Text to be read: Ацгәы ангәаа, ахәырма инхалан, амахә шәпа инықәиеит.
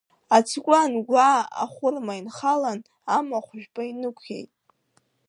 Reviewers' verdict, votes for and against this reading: rejected, 1, 2